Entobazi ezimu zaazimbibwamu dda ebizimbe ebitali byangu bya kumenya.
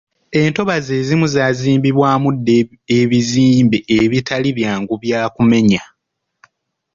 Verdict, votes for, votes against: rejected, 0, 2